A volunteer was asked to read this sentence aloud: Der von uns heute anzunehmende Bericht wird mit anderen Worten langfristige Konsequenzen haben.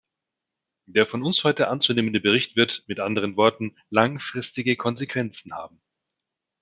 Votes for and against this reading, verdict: 2, 0, accepted